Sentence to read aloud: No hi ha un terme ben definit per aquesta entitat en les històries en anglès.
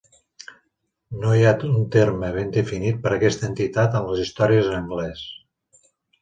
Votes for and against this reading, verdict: 1, 2, rejected